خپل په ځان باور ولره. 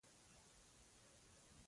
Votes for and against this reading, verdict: 0, 3, rejected